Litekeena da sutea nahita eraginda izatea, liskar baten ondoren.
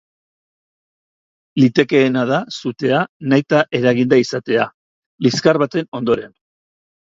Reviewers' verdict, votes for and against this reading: accepted, 2, 0